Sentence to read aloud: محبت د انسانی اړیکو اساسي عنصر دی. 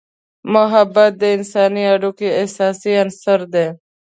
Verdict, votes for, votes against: accepted, 2, 0